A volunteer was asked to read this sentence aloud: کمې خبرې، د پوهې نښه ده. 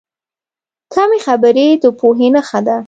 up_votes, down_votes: 2, 0